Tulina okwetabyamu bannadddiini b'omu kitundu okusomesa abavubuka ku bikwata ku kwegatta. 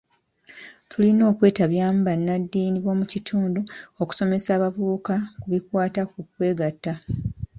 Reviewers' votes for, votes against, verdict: 1, 2, rejected